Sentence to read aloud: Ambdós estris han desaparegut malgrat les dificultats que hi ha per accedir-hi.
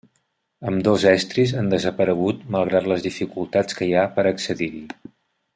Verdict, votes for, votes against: accepted, 3, 0